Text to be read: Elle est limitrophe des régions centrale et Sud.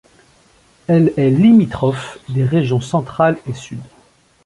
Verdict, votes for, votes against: accepted, 2, 0